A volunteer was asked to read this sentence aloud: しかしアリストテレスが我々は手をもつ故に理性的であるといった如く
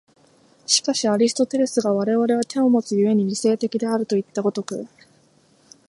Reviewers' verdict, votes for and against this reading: accepted, 4, 0